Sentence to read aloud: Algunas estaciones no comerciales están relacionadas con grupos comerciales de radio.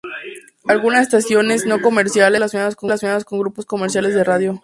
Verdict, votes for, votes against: rejected, 0, 4